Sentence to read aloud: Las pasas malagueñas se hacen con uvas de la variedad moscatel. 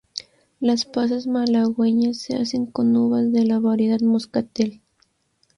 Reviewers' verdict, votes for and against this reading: rejected, 0, 2